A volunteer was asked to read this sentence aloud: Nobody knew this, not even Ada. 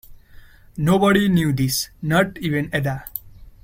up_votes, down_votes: 0, 2